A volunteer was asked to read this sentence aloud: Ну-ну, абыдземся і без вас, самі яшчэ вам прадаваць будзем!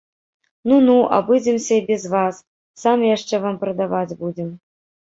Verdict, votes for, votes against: rejected, 2, 3